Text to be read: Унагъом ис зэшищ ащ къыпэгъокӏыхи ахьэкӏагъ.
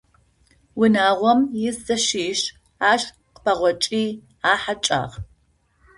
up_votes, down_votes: 2, 0